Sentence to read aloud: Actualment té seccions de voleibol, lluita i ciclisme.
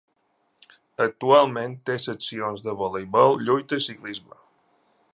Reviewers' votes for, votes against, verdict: 2, 0, accepted